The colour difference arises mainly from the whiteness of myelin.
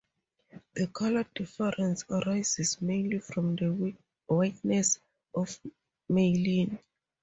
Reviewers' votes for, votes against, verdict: 0, 2, rejected